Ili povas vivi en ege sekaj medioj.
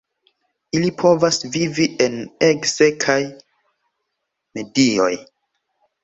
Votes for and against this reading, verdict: 2, 1, accepted